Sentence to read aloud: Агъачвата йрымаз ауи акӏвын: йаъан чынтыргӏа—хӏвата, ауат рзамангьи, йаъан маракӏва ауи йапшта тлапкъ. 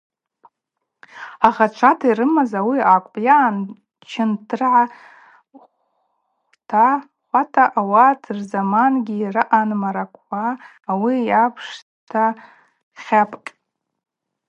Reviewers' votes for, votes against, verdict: 2, 2, rejected